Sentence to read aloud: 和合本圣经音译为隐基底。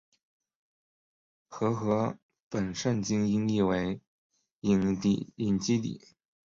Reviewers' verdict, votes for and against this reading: rejected, 0, 2